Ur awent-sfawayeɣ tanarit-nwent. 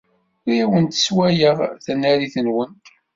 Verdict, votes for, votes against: rejected, 1, 2